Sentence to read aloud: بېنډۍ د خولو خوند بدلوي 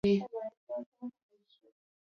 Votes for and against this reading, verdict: 0, 2, rejected